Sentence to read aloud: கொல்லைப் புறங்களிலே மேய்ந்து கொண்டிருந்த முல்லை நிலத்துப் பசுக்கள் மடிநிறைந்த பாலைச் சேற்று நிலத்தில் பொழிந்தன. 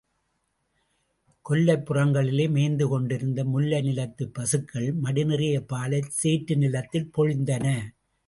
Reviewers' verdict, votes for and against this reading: rejected, 0, 2